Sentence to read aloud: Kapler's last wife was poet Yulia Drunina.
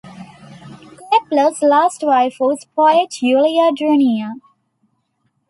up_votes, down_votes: 0, 2